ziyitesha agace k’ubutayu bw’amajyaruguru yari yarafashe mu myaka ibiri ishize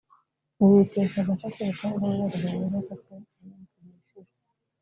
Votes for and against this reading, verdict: 0, 2, rejected